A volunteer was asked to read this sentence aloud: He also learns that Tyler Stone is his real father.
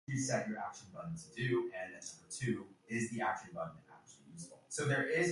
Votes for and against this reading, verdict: 0, 2, rejected